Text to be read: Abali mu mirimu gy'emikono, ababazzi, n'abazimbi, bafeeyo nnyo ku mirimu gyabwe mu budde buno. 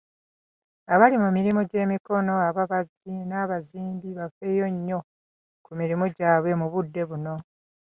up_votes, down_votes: 2, 0